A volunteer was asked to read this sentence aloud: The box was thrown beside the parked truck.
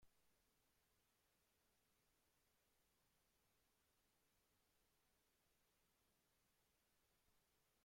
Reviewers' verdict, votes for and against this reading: rejected, 0, 2